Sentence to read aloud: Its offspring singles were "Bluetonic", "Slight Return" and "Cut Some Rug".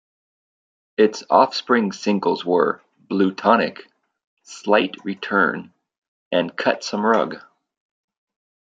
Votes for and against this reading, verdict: 2, 0, accepted